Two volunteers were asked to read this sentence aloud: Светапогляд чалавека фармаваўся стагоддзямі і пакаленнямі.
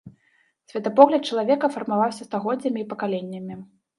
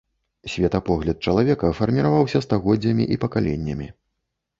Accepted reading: first